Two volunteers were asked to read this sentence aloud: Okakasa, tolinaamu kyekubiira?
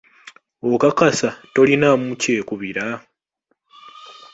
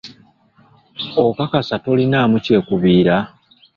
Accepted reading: first